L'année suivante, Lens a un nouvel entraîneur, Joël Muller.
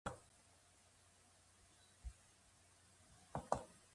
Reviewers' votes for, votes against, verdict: 0, 2, rejected